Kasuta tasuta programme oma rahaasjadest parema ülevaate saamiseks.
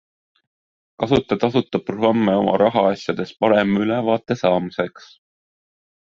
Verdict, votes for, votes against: accepted, 2, 0